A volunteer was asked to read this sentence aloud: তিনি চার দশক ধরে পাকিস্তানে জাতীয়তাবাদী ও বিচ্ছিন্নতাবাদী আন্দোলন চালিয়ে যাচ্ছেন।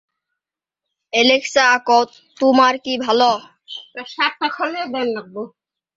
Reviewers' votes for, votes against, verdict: 0, 2, rejected